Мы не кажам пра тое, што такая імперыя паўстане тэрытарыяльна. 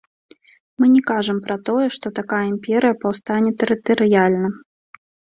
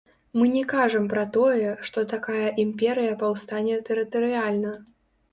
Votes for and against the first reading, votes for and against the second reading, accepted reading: 2, 0, 0, 2, first